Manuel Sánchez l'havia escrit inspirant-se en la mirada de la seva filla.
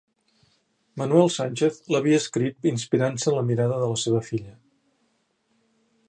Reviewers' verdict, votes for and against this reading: accepted, 2, 0